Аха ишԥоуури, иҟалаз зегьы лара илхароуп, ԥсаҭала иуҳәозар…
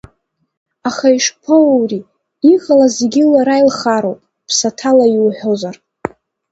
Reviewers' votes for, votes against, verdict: 1, 2, rejected